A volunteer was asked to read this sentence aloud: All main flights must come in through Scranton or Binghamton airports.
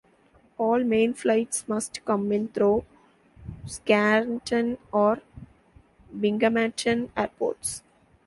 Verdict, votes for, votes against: rejected, 0, 2